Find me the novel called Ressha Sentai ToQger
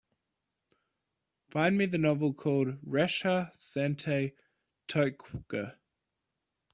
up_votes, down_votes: 2, 0